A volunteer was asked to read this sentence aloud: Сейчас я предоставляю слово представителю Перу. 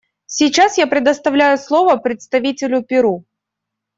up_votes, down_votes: 2, 0